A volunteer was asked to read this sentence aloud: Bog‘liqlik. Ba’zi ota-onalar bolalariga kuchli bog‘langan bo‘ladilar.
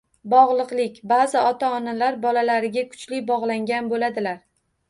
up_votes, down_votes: 1, 2